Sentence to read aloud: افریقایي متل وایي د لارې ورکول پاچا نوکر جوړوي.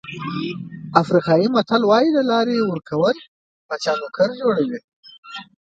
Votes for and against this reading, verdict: 0, 2, rejected